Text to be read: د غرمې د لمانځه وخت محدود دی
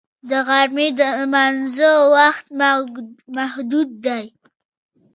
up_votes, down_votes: 1, 2